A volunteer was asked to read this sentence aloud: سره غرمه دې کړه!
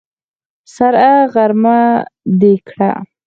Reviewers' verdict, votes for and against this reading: accepted, 4, 2